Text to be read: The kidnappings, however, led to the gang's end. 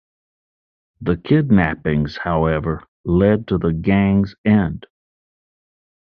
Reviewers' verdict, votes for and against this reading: accepted, 2, 0